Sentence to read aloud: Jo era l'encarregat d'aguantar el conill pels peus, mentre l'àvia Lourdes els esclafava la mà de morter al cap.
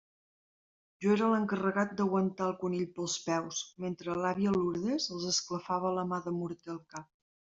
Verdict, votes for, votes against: accepted, 2, 0